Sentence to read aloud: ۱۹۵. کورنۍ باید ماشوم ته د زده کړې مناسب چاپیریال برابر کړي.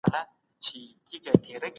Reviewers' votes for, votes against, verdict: 0, 2, rejected